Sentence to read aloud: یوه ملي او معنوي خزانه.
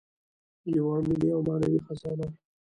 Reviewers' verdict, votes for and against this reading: rejected, 1, 2